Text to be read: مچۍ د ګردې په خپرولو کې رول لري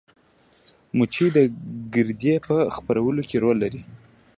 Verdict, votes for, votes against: accepted, 2, 0